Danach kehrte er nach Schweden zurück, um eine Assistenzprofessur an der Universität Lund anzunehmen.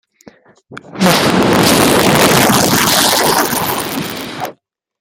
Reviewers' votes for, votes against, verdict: 0, 2, rejected